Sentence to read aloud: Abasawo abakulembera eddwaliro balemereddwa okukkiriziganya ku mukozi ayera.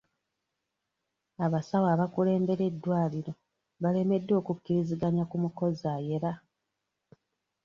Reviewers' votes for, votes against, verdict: 2, 0, accepted